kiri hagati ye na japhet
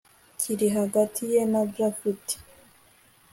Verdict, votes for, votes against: accepted, 2, 0